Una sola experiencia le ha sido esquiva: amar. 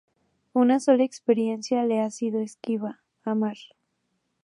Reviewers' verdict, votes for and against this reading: accepted, 2, 0